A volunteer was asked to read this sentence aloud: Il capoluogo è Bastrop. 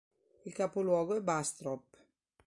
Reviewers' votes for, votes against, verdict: 2, 0, accepted